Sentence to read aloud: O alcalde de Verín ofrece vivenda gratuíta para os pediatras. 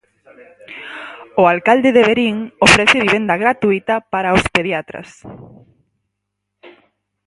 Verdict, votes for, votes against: accepted, 4, 0